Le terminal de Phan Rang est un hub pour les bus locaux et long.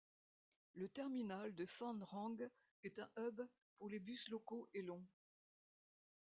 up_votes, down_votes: 0, 2